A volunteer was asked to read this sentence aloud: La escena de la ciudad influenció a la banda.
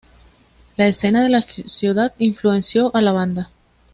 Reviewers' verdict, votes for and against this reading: accepted, 2, 0